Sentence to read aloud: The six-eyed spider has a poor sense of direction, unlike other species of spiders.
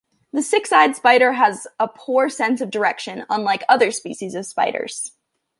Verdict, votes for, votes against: accepted, 2, 0